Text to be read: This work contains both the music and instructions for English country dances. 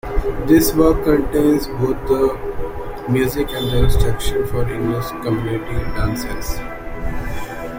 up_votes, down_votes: 0, 2